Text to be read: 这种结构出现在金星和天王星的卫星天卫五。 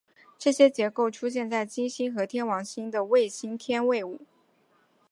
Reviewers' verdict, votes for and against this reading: accepted, 2, 0